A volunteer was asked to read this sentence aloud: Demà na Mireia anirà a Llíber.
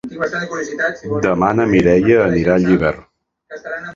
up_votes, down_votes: 1, 2